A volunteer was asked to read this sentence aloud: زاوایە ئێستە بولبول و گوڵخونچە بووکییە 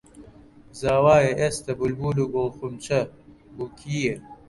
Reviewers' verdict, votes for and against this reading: accepted, 2, 1